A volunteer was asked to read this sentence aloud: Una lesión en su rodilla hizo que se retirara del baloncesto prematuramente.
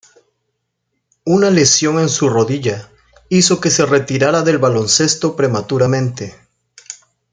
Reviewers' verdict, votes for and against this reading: accepted, 2, 0